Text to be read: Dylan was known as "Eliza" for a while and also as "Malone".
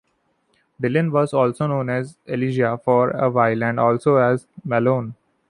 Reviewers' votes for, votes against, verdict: 1, 3, rejected